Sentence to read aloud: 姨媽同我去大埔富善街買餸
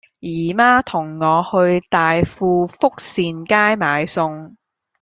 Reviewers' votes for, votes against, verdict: 0, 2, rejected